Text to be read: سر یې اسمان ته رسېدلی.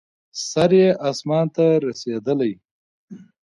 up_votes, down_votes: 1, 2